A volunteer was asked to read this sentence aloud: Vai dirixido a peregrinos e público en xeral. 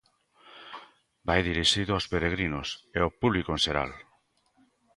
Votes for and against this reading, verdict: 1, 2, rejected